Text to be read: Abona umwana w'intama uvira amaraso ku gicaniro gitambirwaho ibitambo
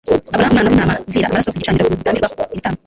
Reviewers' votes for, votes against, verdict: 1, 3, rejected